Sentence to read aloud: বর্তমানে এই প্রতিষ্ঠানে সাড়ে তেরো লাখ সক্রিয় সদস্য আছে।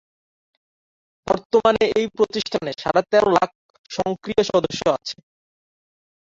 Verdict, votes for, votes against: rejected, 0, 4